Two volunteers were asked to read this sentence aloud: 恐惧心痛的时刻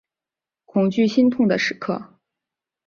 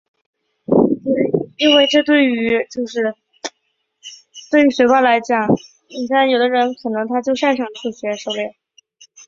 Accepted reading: first